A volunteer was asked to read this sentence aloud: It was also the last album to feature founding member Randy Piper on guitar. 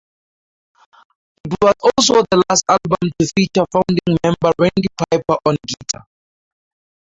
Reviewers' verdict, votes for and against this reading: rejected, 2, 2